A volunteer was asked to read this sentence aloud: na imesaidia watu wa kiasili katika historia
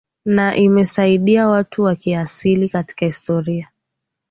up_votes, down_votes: 2, 0